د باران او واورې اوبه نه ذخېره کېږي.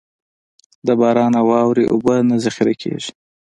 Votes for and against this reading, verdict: 2, 0, accepted